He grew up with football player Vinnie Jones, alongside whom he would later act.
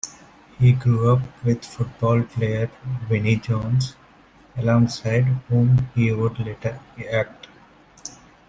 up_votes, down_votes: 2, 1